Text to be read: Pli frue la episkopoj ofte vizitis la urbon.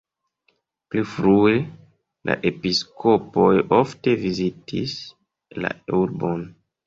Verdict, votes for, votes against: accepted, 2, 0